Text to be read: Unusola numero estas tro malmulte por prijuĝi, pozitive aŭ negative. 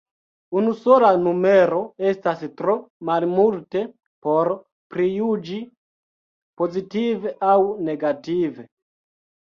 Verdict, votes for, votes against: accepted, 2, 0